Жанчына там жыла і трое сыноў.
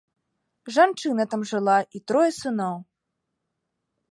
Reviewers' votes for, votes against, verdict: 2, 0, accepted